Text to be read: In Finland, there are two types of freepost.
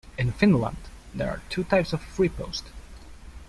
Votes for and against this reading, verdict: 2, 0, accepted